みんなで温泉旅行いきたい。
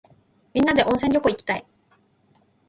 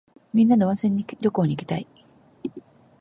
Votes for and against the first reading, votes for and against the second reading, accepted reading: 2, 1, 1, 2, first